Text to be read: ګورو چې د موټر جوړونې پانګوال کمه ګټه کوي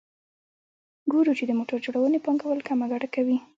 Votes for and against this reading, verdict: 0, 2, rejected